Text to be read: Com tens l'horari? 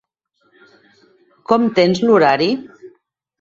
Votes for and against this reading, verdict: 8, 0, accepted